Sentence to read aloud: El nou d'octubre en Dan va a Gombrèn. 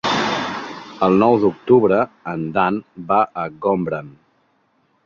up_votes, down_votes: 0, 2